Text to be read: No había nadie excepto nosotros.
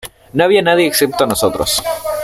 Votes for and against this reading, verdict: 2, 1, accepted